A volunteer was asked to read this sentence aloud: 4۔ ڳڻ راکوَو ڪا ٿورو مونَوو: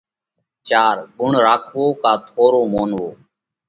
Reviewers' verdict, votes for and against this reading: rejected, 0, 2